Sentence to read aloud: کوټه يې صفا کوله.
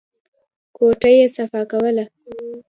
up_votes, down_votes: 2, 0